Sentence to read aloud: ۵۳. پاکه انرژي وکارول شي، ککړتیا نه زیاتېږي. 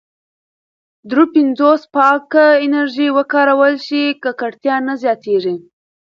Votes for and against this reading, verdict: 0, 2, rejected